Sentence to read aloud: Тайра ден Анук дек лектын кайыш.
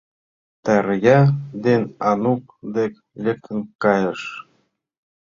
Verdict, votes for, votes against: rejected, 0, 2